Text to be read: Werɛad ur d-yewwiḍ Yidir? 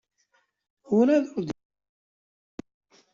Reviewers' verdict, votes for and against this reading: rejected, 0, 2